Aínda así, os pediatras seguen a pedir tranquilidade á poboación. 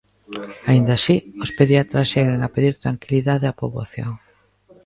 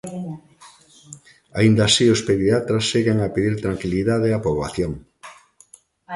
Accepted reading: first